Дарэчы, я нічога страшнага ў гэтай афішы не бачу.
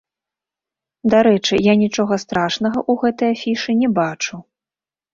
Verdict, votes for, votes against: rejected, 0, 2